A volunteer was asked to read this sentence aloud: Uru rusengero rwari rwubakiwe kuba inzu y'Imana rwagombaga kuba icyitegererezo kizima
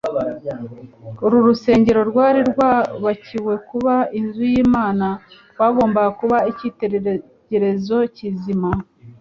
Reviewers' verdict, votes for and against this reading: rejected, 0, 2